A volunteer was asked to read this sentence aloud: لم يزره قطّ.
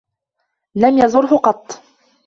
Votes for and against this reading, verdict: 2, 0, accepted